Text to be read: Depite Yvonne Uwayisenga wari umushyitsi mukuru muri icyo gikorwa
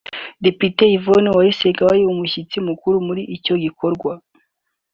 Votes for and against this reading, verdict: 2, 0, accepted